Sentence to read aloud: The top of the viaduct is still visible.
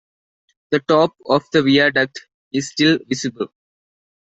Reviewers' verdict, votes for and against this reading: accepted, 2, 0